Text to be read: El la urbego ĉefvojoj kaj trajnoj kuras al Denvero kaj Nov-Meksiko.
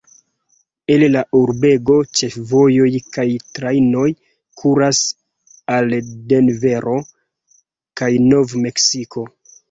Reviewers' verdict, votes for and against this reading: rejected, 1, 2